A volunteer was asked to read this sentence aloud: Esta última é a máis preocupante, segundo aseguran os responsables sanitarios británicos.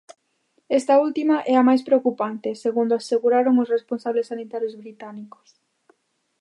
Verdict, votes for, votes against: rejected, 0, 2